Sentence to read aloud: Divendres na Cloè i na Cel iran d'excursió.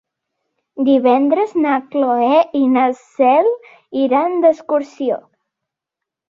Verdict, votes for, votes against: accepted, 4, 0